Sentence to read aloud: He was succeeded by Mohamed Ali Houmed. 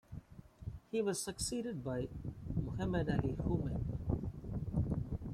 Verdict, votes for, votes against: rejected, 0, 2